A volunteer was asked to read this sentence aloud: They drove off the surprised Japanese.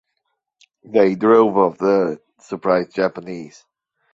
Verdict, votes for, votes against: accepted, 2, 0